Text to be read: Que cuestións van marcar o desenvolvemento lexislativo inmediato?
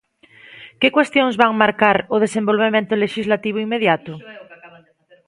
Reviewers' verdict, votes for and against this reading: rejected, 1, 2